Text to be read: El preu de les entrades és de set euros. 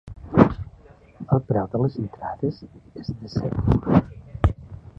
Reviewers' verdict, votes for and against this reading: accepted, 2, 1